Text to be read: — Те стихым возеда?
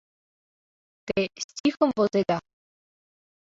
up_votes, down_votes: 2, 0